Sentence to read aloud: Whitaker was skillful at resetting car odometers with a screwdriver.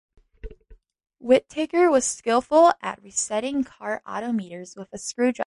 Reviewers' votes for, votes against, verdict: 0, 2, rejected